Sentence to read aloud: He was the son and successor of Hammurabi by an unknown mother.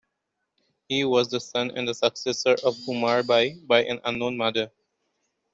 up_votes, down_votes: 0, 2